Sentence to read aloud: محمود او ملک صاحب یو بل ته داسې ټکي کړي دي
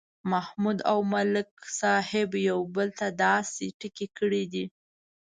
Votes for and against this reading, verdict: 2, 0, accepted